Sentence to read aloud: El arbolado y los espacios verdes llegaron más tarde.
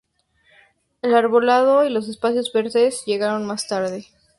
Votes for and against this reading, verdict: 2, 0, accepted